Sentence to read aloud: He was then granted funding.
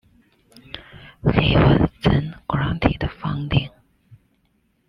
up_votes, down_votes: 0, 2